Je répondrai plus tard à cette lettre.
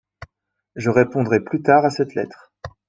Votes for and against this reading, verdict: 2, 0, accepted